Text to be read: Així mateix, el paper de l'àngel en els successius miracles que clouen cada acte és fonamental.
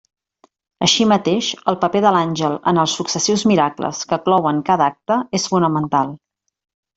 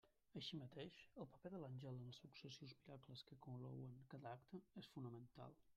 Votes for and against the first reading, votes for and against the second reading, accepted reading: 2, 0, 0, 2, first